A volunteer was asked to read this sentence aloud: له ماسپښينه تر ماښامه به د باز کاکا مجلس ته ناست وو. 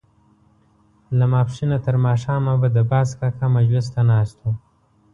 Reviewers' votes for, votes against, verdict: 1, 2, rejected